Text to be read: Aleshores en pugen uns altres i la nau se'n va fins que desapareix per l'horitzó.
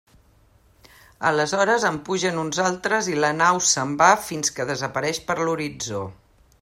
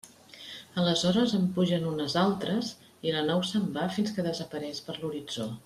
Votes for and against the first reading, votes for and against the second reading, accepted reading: 2, 0, 1, 2, first